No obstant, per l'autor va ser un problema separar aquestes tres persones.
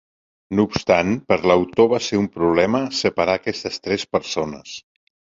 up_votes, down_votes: 2, 0